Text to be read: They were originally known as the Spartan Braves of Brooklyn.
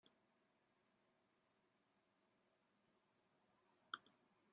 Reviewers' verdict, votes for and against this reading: rejected, 0, 2